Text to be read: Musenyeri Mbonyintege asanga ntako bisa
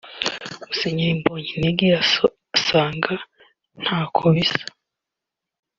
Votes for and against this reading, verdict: 0, 2, rejected